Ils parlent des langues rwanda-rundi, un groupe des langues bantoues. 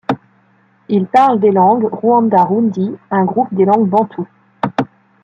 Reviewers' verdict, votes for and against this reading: accepted, 3, 0